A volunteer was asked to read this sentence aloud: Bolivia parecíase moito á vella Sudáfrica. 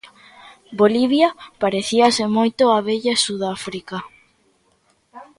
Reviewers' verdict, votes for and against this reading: accepted, 3, 0